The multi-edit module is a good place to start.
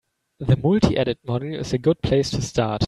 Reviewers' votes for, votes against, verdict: 3, 0, accepted